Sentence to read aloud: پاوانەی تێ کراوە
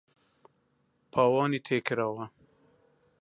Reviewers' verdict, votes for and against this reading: rejected, 0, 2